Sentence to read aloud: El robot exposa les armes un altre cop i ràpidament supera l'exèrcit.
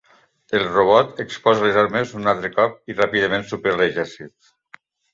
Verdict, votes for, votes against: accepted, 2, 0